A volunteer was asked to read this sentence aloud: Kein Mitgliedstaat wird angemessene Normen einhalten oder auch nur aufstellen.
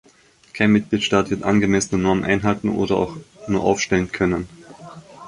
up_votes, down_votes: 0, 2